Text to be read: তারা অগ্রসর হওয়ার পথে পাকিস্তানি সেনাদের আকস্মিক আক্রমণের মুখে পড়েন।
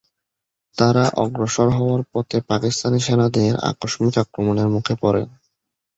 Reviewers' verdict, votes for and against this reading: rejected, 1, 2